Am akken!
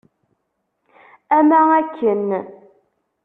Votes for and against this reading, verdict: 0, 2, rejected